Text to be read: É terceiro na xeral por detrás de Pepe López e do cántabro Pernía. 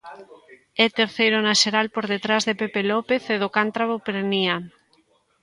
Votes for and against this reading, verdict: 1, 2, rejected